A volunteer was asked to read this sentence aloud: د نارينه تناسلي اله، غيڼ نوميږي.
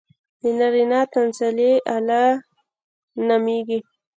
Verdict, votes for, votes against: rejected, 0, 2